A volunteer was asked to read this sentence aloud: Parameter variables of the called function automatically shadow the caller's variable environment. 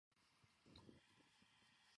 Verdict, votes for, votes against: rejected, 0, 2